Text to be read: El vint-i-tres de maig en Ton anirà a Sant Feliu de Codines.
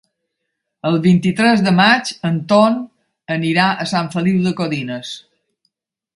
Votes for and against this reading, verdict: 3, 0, accepted